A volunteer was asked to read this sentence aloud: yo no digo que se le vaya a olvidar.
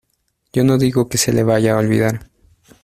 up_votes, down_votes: 2, 0